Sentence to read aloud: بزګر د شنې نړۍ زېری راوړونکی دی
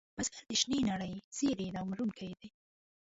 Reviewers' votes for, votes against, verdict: 0, 2, rejected